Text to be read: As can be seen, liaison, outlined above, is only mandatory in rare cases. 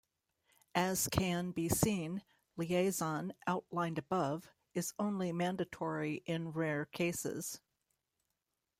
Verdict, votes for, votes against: accepted, 2, 0